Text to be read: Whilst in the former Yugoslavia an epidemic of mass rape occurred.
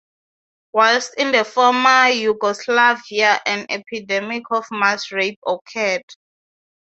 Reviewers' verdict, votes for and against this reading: accepted, 6, 0